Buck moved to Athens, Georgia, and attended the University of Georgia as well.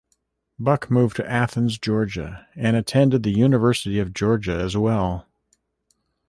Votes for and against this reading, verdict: 2, 0, accepted